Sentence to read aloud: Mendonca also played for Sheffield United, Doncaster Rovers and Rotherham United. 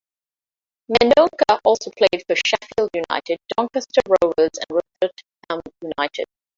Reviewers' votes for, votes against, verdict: 0, 2, rejected